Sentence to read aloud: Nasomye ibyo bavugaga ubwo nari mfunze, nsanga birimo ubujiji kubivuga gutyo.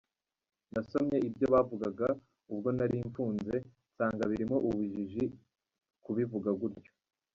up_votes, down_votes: 1, 2